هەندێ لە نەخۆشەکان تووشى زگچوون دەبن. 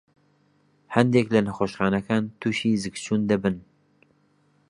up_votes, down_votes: 1, 2